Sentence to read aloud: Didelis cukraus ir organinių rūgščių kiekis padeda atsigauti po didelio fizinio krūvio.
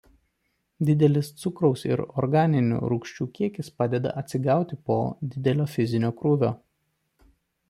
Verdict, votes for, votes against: accepted, 2, 0